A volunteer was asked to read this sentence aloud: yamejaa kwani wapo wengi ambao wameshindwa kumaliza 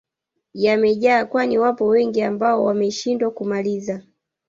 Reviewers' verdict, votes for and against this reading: rejected, 1, 2